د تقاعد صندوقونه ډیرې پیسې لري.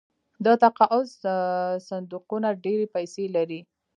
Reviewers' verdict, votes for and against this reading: rejected, 0, 2